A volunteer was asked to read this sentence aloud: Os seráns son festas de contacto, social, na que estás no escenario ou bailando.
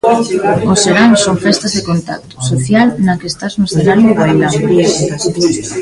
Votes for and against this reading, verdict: 0, 2, rejected